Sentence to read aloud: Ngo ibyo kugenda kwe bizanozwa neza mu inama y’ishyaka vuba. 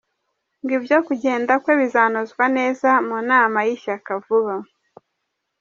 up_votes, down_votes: 2, 1